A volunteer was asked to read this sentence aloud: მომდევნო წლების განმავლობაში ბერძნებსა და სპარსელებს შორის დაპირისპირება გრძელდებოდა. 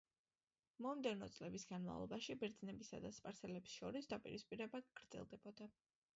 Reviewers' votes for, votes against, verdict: 3, 1, accepted